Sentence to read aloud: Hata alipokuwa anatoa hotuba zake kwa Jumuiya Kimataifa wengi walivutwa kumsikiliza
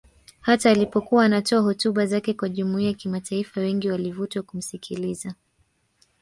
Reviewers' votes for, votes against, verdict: 2, 1, accepted